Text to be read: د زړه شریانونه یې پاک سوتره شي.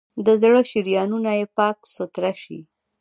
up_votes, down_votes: 1, 2